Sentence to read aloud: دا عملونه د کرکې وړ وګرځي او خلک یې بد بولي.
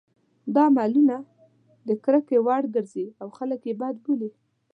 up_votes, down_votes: 2, 0